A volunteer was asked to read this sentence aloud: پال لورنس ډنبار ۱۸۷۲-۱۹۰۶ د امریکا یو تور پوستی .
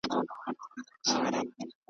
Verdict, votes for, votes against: rejected, 0, 2